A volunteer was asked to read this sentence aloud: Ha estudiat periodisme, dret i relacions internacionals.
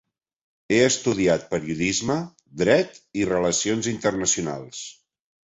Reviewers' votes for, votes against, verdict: 0, 2, rejected